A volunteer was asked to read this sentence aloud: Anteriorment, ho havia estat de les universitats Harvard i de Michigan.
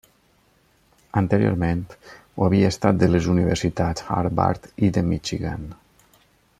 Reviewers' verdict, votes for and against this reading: accepted, 3, 0